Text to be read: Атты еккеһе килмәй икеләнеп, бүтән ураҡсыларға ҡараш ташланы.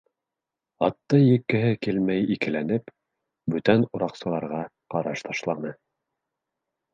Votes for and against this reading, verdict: 4, 0, accepted